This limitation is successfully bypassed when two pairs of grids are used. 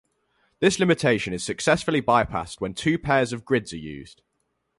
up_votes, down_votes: 2, 2